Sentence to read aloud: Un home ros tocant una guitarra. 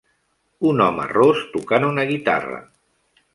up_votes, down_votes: 3, 0